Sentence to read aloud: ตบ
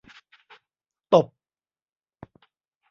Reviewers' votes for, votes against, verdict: 0, 2, rejected